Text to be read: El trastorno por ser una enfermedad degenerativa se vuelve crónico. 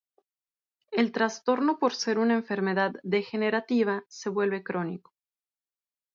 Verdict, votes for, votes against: accepted, 6, 0